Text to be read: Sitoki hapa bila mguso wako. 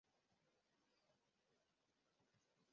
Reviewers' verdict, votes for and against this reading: rejected, 0, 2